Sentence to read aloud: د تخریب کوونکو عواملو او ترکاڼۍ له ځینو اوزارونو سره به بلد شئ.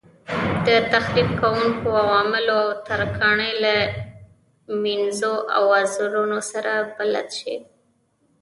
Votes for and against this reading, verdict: 1, 2, rejected